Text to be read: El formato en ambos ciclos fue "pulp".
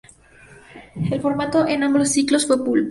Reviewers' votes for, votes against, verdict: 2, 0, accepted